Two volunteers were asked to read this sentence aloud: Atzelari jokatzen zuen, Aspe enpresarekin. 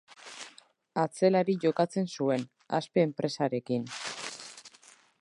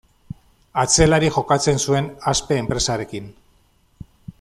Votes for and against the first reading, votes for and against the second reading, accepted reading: 0, 2, 2, 0, second